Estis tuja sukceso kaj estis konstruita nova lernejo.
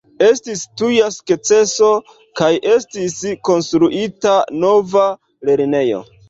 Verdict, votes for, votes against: accepted, 2, 0